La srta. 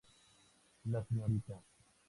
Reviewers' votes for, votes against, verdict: 4, 0, accepted